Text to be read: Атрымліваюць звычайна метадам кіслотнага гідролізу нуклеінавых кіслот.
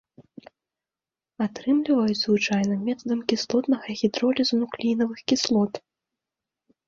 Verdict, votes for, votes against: accepted, 2, 0